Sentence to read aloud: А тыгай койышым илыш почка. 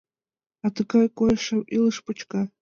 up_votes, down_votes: 2, 1